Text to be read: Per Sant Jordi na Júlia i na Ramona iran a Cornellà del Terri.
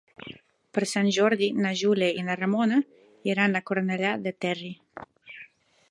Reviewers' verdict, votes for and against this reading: rejected, 1, 2